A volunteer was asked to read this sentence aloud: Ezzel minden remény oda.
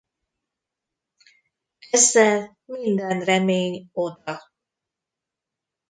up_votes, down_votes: 0, 2